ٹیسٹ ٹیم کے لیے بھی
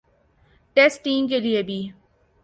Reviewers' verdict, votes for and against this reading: rejected, 0, 2